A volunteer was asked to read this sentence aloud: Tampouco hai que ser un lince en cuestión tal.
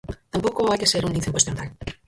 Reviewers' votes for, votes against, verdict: 0, 4, rejected